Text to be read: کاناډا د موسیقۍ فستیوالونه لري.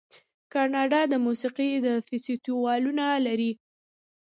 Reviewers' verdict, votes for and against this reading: accepted, 2, 0